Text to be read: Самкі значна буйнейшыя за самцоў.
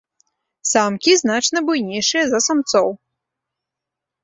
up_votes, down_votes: 2, 0